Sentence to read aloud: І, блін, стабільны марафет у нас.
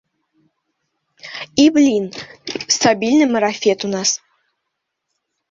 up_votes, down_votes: 2, 0